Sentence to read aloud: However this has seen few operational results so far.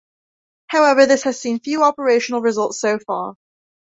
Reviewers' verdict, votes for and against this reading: rejected, 0, 2